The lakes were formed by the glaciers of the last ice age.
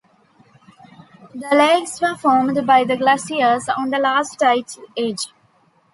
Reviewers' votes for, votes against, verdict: 1, 2, rejected